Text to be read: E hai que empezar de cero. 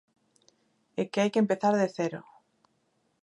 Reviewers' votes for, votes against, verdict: 0, 2, rejected